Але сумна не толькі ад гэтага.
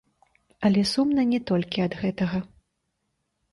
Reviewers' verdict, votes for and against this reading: accepted, 2, 1